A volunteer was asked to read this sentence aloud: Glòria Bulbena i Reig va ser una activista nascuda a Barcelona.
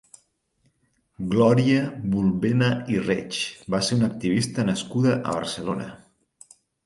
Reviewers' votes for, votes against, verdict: 4, 0, accepted